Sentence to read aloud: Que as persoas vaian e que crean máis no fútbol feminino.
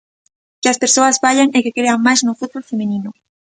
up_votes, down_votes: 2, 0